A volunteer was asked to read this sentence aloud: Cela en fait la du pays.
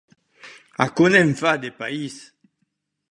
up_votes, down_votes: 1, 2